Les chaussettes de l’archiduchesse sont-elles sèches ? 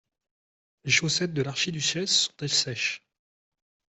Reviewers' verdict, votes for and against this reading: accepted, 2, 0